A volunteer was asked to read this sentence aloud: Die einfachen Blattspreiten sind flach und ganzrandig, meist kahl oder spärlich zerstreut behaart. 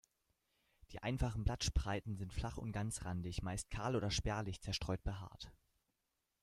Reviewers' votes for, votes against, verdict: 1, 2, rejected